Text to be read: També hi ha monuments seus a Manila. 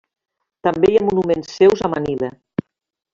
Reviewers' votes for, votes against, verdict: 2, 0, accepted